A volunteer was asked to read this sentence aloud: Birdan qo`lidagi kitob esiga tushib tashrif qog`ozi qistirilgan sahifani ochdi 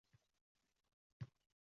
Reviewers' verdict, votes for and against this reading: rejected, 0, 2